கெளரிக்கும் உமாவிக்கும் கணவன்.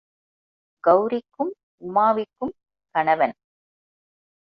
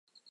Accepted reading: first